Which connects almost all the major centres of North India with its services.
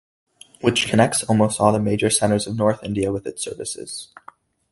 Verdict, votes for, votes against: accepted, 2, 0